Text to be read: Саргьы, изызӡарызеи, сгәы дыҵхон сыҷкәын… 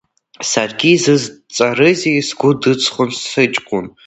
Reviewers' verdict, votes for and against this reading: rejected, 1, 2